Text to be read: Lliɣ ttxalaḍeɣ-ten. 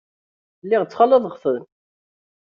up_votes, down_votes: 2, 0